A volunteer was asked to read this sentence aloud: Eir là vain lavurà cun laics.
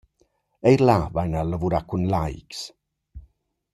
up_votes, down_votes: 1, 2